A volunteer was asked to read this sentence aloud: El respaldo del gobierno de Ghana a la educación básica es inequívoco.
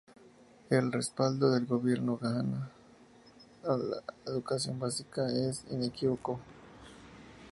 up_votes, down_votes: 0, 2